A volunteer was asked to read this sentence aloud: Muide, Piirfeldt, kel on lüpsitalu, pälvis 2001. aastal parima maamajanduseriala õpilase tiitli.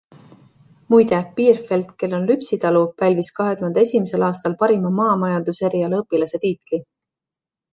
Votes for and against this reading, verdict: 0, 2, rejected